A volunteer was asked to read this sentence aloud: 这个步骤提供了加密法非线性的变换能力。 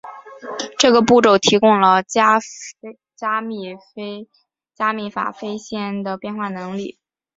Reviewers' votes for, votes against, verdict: 0, 2, rejected